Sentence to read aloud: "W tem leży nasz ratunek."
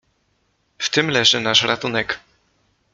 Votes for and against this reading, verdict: 2, 0, accepted